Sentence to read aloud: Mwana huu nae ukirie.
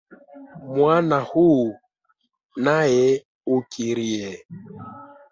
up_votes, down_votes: 0, 2